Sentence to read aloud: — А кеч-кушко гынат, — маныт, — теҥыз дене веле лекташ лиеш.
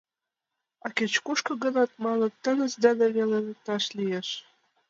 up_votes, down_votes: 2, 0